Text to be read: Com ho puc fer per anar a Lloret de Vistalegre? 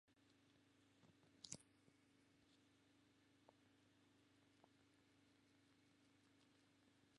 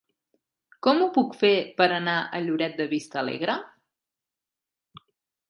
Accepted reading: second